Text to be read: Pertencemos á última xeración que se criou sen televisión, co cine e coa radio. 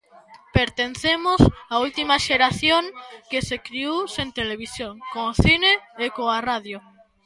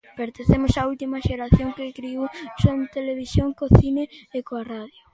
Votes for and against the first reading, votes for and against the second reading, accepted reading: 2, 0, 0, 2, first